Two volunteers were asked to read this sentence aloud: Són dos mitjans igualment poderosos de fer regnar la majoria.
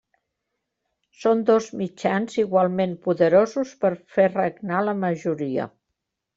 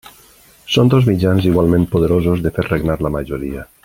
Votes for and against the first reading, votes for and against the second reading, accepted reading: 0, 2, 2, 0, second